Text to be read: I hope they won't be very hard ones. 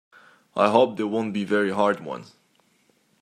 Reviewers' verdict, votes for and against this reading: accepted, 2, 0